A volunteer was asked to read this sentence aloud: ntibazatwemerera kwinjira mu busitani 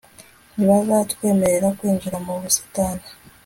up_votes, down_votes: 2, 0